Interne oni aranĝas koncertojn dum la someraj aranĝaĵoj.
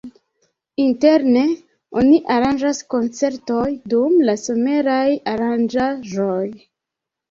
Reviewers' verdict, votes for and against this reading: rejected, 1, 2